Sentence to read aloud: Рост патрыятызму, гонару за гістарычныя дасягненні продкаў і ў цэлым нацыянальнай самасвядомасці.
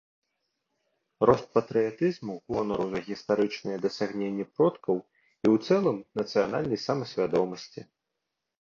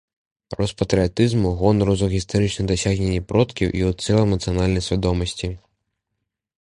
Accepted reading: first